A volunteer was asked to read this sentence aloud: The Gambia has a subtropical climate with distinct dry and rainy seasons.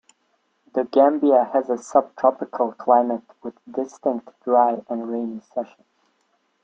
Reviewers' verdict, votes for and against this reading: rejected, 0, 2